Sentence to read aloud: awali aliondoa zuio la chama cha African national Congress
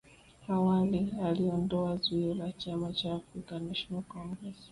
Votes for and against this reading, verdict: 5, 3, accepted